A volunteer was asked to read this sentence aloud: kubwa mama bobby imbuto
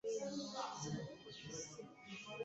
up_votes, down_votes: 1, 2